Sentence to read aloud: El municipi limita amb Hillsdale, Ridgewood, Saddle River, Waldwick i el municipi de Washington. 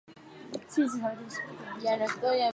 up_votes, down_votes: 0, 2